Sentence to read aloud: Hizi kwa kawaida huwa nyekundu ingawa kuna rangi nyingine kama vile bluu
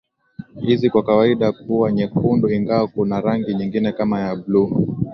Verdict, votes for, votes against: accepted, 2, 1